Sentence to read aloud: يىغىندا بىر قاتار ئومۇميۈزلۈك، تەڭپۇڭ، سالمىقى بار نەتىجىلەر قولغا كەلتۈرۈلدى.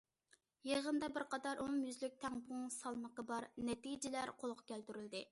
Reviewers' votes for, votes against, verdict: 2, 0, accepted